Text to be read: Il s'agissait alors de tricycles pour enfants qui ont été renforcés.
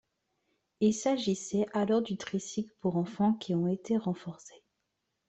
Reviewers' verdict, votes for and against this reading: rejected, 1, 2